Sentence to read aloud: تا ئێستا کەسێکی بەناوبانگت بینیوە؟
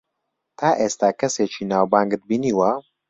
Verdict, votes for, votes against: rejected, 1, 2